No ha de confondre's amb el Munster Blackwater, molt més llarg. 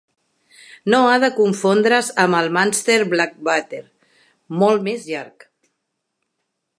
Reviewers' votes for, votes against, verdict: 2, 0, accepted